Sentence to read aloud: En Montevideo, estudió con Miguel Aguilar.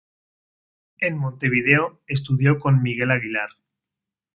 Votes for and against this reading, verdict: 2, 0, accepted